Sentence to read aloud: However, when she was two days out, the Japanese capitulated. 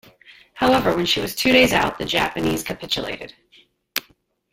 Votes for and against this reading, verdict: 1, 2, rejected